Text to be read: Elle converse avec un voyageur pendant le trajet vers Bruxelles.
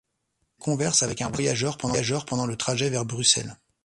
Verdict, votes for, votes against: rejected, 0, 2